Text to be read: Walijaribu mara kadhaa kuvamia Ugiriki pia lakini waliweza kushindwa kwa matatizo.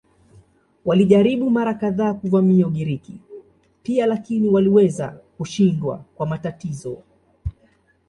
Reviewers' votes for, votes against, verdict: 2, 0, accepted